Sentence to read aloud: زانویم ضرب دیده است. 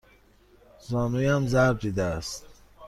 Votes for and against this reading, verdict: 2, 0, accepted